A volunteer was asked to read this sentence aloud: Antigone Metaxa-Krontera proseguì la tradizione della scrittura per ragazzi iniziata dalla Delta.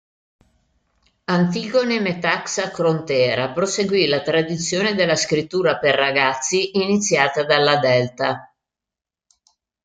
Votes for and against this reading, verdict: 2, 0, accepted